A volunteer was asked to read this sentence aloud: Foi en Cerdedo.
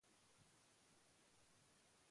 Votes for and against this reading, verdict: 0, 2, rejected